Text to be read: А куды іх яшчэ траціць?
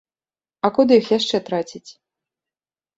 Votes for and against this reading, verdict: 2, 0, accepted